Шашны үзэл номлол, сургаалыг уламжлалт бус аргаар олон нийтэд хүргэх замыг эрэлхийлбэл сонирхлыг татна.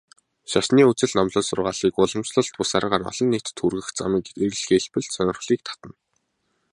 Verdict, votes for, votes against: accepted, 2, 0